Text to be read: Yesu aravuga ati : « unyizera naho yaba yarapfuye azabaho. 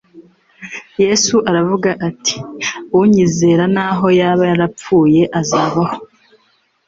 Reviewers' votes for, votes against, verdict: 2, 0, accepted